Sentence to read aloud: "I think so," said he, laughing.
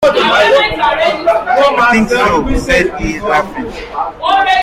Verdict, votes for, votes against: rejected, 0, 2